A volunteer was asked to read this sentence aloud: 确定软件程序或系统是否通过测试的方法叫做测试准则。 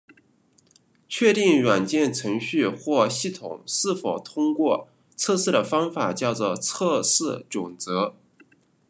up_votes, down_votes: 2, 0